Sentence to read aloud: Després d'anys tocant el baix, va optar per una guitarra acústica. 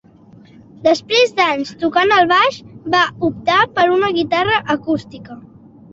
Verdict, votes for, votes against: accepted, 3, 0